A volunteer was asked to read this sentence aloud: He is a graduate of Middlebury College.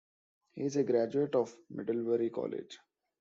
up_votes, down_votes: 2, 0